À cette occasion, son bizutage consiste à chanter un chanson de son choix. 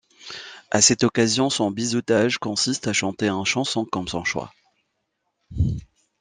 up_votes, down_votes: 1, 2